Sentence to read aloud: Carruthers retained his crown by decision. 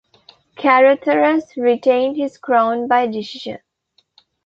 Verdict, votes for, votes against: rejected, 1, 2